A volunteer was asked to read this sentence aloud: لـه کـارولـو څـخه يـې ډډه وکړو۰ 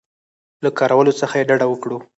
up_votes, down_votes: 0, 2